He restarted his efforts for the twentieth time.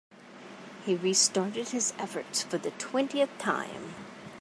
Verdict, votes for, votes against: accepted, 2, 0